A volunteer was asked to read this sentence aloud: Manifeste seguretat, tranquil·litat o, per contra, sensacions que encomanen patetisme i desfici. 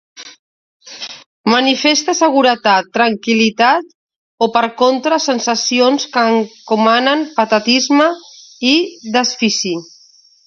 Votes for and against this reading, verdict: 2, 0, accepted